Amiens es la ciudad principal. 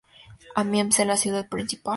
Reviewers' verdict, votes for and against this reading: accepted, 2, 0